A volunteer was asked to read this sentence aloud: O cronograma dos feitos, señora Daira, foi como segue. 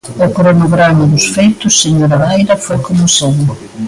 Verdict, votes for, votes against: rejected, 1, 2